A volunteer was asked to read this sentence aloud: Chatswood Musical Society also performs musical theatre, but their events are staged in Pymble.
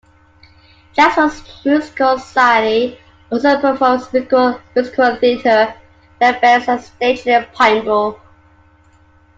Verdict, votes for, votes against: rejected, 1, 2